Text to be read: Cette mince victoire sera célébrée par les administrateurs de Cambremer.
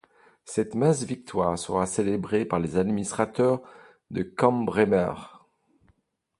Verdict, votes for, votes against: rejected, 1, 2